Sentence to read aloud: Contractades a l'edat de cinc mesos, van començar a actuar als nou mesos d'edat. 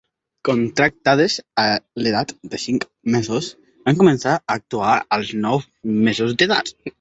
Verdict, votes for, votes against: accepted, 3, 1